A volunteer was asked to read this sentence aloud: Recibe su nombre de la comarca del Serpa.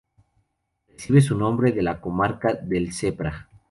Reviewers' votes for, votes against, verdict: 0, 2, rejected